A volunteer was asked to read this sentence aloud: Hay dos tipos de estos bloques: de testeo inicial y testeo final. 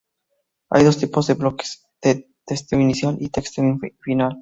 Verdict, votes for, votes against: accepted, 2, 0